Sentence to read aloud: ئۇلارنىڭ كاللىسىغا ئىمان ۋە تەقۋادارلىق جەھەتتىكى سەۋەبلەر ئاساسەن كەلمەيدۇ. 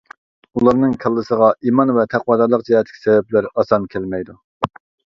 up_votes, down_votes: 1, 2